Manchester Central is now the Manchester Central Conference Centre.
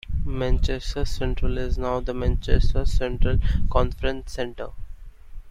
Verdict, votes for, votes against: accepted, 2, 1